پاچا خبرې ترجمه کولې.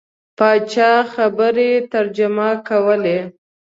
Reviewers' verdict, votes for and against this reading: accepted, 2, 0